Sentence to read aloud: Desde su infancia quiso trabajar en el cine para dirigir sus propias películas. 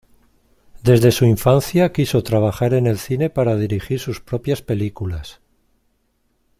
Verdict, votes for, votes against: accepted, 2, 0